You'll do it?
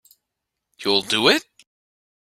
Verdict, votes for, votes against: accepted, 2, 0